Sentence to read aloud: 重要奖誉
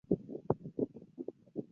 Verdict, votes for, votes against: rejected, 0, 2